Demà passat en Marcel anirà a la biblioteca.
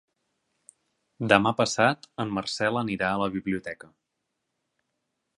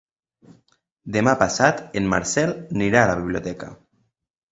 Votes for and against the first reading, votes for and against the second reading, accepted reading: 3, 0, 0, 2, first